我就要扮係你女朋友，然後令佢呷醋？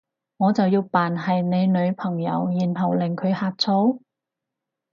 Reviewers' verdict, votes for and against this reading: accepted, 4, 0